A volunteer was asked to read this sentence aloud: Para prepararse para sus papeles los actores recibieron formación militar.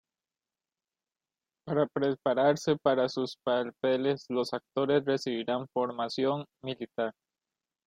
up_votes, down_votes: 0, 2